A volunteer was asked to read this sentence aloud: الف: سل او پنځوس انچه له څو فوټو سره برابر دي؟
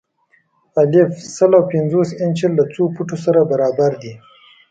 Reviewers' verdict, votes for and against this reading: accepted, 2, 0